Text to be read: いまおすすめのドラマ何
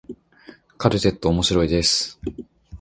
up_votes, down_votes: 1, 2